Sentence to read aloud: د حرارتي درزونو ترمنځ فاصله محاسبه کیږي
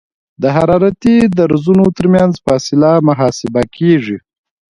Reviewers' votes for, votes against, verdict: 2, 0, accepted